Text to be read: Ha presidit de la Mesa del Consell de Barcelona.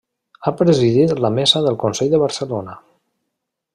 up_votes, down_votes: 1, 2